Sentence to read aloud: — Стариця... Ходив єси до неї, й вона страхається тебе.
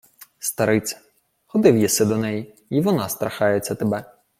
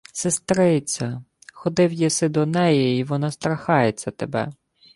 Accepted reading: first